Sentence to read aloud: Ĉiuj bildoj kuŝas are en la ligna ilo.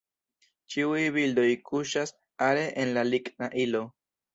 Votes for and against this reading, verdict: 2, 0, accepted